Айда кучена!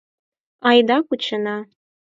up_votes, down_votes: 4, 0